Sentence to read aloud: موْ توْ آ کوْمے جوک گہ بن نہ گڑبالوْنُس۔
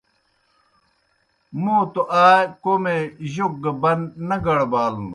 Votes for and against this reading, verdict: 2, 0, accepted